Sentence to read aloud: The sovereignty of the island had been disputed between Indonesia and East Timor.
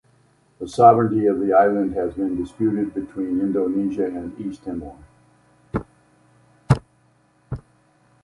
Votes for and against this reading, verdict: 2, 0, accepted